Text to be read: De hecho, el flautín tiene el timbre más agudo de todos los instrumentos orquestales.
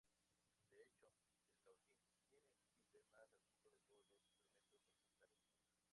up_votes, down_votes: 0, 2